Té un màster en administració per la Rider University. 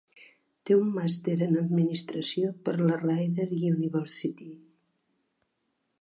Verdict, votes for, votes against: accepted, 2, 0